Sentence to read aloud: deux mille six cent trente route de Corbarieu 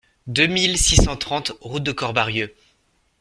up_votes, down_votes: 2, 0